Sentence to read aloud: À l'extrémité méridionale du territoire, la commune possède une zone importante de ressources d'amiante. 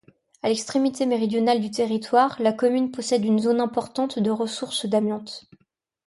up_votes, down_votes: 2, 0